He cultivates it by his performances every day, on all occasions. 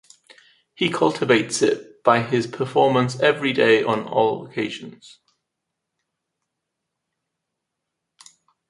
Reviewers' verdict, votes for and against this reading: rejected, 0, 2